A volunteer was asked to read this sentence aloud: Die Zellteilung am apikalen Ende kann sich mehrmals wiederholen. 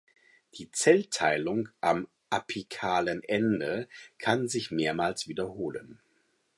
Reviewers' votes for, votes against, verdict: 4, 0, accepted